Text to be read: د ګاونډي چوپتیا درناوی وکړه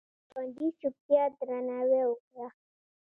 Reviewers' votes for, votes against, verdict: 2, 0, accepted